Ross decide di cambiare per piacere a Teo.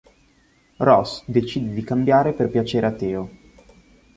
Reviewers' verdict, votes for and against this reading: accepted, 2, 0